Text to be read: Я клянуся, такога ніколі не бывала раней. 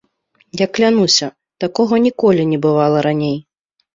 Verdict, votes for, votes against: accepted, 2, 0